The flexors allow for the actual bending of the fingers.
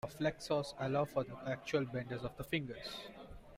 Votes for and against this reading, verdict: 0, 2, rejected